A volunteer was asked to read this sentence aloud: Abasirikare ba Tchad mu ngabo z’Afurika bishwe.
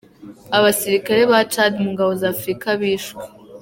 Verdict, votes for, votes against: accepted, 2, 0